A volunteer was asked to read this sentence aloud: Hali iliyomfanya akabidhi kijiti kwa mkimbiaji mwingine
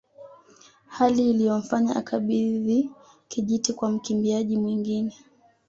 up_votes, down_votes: 2, 0